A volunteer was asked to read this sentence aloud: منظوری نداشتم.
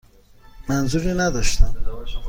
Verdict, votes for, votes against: accepted, 2, 0